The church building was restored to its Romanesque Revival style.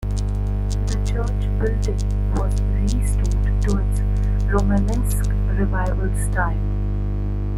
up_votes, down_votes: 2, 1